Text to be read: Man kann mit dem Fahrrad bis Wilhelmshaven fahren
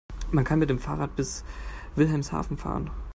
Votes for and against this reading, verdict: 2, 0, accepted